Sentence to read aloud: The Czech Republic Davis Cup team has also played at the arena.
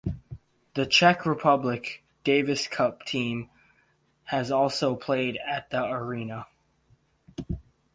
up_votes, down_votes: 4, 0